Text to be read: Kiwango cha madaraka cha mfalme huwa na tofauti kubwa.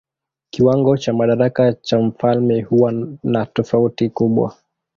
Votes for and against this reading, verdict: 1, 2, rejected